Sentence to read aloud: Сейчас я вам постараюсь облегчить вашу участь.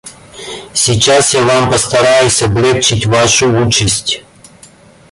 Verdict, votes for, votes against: accepted, 2, 0